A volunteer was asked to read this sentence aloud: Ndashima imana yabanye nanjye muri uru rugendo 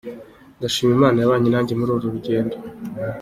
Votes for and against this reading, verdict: 2, 0, accepted